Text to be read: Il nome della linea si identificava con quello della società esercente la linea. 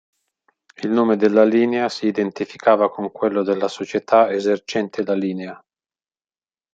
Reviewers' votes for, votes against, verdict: 2, 0, accepted